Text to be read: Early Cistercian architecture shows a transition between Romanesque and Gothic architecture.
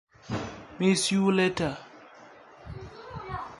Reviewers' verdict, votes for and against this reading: rejected, 0, 2